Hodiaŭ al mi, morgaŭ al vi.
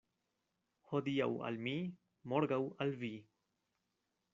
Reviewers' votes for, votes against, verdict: 2, 0, accepted